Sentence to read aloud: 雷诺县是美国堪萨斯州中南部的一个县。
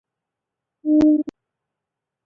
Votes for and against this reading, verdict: 2, 6, rejected